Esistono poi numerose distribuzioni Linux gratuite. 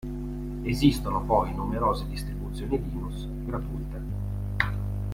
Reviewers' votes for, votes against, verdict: 2, 0, accepted